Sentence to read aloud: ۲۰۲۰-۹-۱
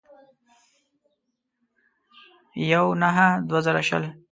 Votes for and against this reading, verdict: 0, 2, rejected